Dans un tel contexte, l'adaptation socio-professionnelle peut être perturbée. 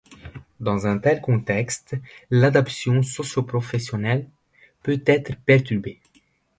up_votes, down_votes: 1, 2